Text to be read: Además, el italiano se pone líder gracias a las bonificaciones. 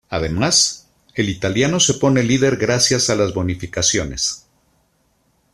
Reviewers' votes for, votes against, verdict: 2, 0, accepted